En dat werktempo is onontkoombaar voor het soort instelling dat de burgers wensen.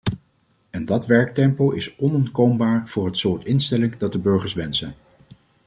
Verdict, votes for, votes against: accepted, 2, 0